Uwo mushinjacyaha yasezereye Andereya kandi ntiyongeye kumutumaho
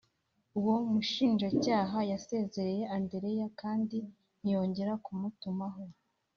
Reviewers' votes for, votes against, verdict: 2, 0, accepted